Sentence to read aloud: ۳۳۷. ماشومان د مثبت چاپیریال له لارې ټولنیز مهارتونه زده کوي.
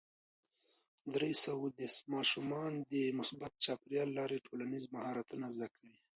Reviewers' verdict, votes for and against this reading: rejected, 0, 2